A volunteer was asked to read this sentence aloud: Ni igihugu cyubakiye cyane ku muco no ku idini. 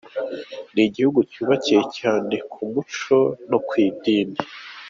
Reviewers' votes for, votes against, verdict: 2, 0, accepted